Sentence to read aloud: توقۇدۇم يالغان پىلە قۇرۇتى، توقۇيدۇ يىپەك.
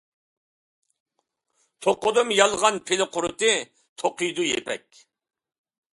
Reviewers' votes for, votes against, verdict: 2, 0, accepted